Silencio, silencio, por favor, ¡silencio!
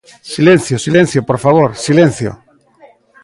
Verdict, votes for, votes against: accepted, 2, 0